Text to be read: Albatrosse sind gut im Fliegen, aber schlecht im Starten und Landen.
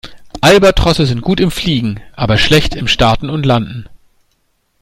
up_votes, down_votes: 2, 0